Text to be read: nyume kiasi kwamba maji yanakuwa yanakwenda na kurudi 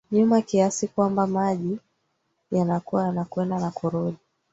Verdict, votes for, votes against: rejected, 1, 2